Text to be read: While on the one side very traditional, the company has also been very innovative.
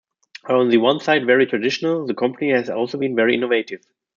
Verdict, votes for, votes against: rejected, 0, 2